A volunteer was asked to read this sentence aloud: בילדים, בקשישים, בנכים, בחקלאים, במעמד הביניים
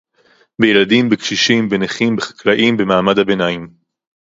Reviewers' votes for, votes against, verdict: 2, 0, accepted